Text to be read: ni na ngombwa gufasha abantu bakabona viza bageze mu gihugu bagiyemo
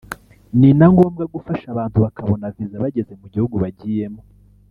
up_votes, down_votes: 1, 2